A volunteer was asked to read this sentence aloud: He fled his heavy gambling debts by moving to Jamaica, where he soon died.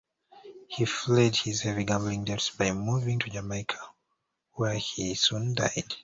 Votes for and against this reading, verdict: 1, 2, rejected